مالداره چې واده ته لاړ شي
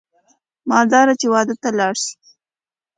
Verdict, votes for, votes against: accepted, 2, 0